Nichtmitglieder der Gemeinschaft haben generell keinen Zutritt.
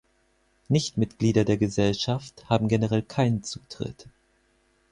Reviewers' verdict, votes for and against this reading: rejected, 0, 4